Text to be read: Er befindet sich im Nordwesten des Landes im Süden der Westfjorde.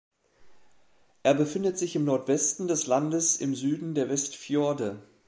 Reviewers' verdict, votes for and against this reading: accepted, 2, 0